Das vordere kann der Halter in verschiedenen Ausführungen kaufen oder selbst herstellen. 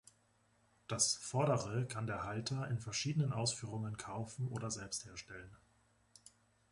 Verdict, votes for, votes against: accepted, 2, 0